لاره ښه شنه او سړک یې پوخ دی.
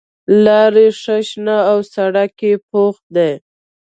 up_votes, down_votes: 2, 1